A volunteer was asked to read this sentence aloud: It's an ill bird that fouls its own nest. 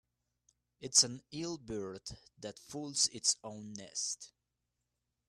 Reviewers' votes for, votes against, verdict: 0, 2, rejected